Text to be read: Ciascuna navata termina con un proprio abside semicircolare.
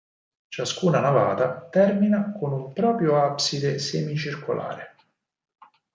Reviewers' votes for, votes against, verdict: 4, 0, accepted